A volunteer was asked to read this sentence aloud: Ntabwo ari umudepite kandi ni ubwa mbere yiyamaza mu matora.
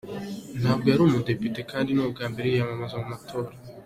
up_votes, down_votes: 2, 0